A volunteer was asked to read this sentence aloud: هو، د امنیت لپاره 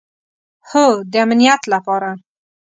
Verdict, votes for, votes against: accepted, 2, 0